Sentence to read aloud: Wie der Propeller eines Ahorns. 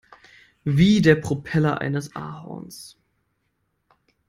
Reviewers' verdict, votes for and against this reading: accepted, 2, 0